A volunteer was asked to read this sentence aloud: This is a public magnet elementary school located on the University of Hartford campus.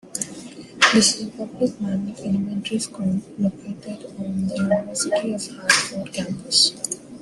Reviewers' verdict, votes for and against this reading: rejected, 1, 2